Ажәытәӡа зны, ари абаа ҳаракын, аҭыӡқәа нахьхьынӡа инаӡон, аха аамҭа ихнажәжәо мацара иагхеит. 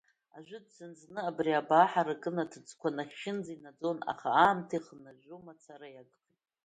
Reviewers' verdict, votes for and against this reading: rejected, 1, 2